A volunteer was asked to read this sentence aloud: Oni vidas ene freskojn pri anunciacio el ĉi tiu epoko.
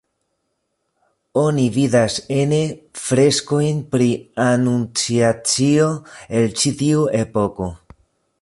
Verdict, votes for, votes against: rejected, 1, 2